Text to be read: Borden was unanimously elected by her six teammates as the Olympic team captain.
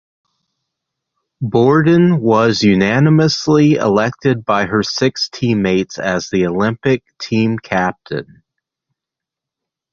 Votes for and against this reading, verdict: 2, 0, accepted